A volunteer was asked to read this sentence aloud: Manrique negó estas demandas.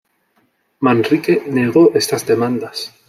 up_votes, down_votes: 2, 0